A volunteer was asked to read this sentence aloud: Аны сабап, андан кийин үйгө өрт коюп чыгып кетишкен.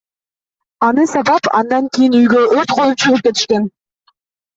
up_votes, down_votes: 1, 2